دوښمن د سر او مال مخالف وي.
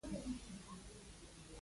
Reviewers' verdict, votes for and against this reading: rejected, 1, 2